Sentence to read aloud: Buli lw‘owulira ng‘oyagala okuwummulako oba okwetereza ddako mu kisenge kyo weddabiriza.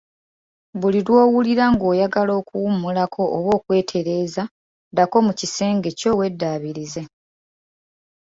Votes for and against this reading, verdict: 2, 0, accepted